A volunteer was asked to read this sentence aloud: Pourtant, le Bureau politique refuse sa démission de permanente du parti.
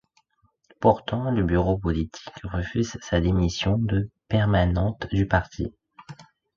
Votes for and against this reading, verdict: 2, 0, accepted